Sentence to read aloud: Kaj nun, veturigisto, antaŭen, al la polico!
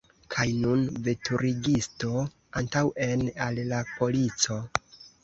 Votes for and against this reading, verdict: 2, 1, accepted